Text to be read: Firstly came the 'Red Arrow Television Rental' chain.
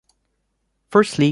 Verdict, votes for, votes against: rejected, 0, 2